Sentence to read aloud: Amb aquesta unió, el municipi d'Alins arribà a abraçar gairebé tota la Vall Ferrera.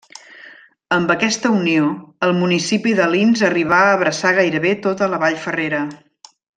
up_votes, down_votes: 2, 1